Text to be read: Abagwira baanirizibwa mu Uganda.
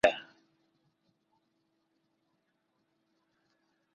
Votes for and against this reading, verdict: 0, 2, rejected